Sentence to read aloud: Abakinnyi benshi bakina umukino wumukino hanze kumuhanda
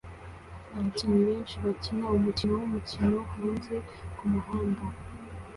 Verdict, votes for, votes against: accepted, 2, 0